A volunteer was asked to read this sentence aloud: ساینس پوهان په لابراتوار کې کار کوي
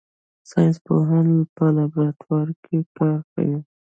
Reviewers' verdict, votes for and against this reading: rejected, 1, 2